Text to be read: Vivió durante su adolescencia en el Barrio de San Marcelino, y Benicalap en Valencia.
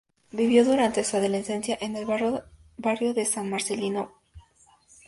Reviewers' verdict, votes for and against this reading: rejected, 0, 2